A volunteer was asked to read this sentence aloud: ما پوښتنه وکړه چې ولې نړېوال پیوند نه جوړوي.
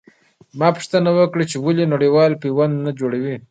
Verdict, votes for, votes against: rejected, 0, 2